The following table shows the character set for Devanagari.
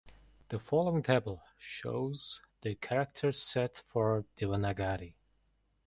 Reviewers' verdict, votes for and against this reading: accepted, 2, 1